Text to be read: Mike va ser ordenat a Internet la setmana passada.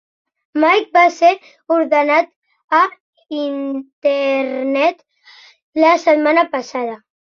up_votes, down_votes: 3, 0